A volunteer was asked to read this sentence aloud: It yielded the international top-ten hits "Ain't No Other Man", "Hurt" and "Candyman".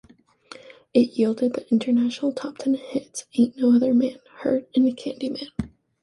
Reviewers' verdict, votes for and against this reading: accepted, 2, 0